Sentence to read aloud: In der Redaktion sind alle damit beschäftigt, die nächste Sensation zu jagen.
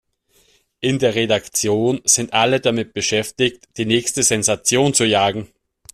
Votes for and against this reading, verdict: 2, 0, accepted